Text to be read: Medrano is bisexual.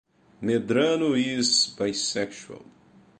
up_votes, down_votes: 2, 0